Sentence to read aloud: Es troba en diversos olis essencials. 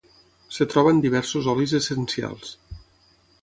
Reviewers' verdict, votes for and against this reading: rejected, 3, 6